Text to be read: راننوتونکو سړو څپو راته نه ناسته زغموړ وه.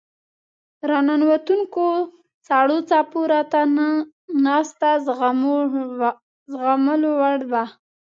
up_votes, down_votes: 0, 2